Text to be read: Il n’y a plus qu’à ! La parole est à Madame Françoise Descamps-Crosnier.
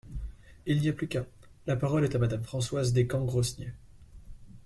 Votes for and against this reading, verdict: 1, 2, rejected